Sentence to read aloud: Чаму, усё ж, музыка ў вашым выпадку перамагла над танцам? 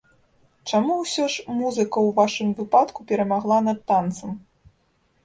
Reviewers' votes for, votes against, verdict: 1, 2, rejected